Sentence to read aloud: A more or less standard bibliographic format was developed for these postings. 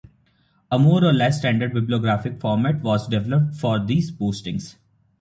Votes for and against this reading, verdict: 2, 0, accepted